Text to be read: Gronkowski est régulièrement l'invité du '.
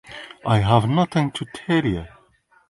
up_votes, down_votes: 1, 2